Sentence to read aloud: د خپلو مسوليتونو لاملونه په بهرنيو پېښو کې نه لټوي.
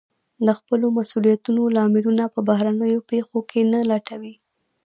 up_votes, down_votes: 1, 2